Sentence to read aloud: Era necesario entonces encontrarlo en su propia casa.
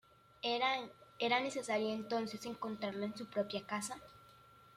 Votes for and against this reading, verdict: 0, 2, rejected